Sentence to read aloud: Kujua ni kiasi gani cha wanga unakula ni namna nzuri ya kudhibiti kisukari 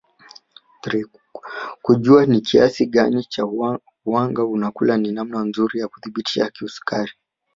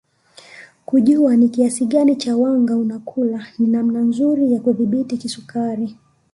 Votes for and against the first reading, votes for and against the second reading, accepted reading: 1, 2, 2, 0, second